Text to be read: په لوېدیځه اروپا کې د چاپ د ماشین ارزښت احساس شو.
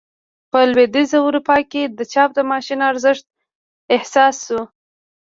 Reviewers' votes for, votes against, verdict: 1, 2, rejected